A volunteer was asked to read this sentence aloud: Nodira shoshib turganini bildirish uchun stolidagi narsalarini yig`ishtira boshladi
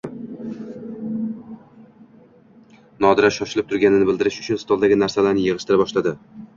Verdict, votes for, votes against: accepted, 2, 1